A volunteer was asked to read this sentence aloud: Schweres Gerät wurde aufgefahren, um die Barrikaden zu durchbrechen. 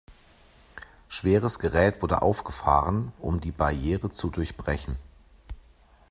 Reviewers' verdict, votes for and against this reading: rejected, 0, 2